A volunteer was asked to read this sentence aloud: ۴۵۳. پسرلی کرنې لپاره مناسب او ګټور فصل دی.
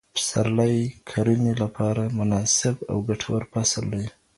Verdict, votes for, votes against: rejected, 0, 2